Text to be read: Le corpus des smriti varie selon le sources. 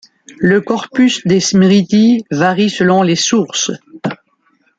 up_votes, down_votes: 1, 2